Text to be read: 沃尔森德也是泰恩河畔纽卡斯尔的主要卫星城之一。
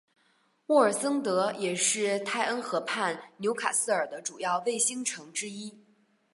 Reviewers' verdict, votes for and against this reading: accepted, 2, 0